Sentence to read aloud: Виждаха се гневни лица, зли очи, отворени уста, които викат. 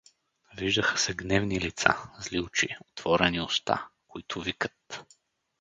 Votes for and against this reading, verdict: 4, 0, accepted